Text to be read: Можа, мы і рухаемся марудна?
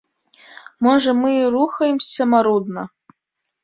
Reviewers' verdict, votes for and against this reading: accepted, 2, 0